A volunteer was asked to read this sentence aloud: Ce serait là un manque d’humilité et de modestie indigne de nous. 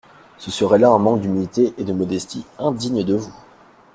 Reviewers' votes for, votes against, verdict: 1, 2, rejected